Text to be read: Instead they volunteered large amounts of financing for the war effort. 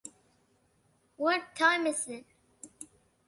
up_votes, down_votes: 0, 2